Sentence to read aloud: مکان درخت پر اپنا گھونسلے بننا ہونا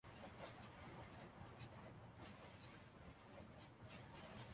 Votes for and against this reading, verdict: 0, 2, rejected